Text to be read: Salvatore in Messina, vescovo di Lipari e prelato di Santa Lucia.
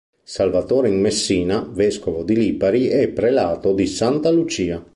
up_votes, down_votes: 2, 0